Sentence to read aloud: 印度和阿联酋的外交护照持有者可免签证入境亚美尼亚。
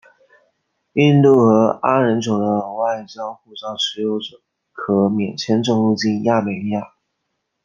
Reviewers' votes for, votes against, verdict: 2, 1, accepted